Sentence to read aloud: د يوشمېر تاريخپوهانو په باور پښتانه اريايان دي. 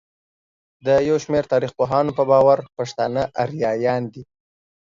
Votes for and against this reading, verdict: 2, 0, accepted